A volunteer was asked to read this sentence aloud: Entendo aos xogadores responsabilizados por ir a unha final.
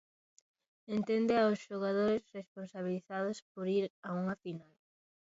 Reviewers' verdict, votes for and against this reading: rejected, 1, 2